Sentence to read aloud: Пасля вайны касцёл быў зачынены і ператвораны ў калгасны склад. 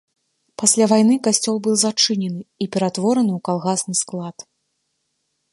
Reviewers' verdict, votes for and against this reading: accepted, 2, 0